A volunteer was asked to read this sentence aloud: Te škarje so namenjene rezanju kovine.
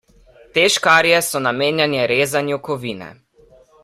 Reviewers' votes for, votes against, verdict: 0, 2, rejected